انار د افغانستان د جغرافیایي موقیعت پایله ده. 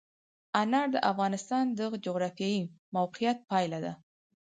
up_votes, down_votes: 4, 2